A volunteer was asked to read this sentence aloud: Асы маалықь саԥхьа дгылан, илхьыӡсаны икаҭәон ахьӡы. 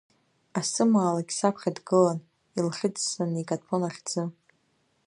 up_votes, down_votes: 2, 1